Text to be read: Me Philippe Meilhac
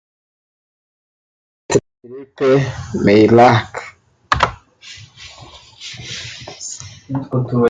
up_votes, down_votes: 0, 2